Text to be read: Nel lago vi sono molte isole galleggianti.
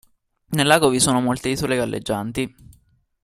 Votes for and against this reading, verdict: 2, 0, accepted